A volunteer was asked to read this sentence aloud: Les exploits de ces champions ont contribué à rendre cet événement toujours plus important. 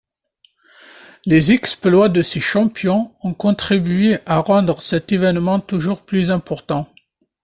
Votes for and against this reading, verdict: 2, 0, accepted